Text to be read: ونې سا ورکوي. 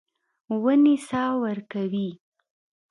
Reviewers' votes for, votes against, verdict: 2, 0, accepted